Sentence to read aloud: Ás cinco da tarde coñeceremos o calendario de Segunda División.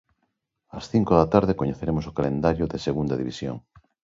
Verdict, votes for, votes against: accepted, 2, 0